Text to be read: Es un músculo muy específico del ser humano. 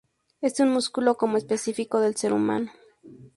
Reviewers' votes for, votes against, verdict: 0, 2, rejected